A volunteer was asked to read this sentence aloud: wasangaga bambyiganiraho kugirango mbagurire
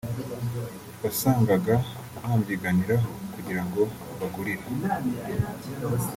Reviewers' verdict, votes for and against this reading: rejected, 0, 2